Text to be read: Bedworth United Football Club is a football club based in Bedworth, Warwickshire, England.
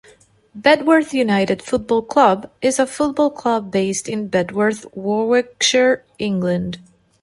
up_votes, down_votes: 2, 0